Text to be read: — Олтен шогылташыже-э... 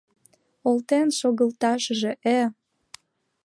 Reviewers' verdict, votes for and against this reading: accepted, 2, 0